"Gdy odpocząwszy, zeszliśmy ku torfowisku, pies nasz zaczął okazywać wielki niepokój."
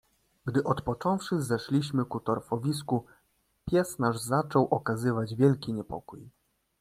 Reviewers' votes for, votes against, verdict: 2, 0, accepted